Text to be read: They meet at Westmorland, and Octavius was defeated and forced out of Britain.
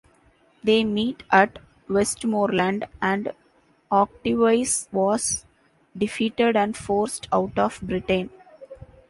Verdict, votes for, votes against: accepted, 2, 1